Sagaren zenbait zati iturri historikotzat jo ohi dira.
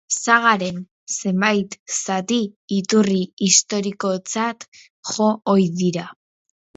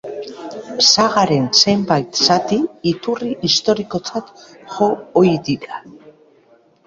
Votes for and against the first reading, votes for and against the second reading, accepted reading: 2, 2, 2, 0, second